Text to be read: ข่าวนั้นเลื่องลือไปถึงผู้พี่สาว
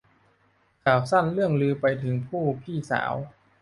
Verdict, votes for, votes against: rejected, 0, 2